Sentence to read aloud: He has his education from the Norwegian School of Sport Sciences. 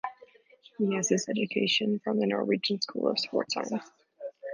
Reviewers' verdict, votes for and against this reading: accepted, 2, 0